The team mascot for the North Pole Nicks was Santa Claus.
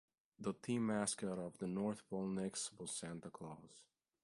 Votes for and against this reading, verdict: 2, 0, accepted